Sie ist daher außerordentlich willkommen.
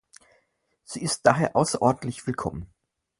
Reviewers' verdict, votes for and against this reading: accepted, 4, 0